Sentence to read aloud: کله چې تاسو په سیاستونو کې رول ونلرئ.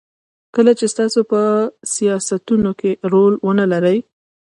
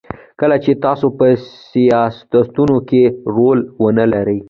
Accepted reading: second